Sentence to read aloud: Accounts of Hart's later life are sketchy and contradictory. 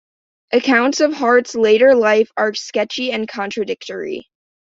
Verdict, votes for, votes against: accepted, 2, 0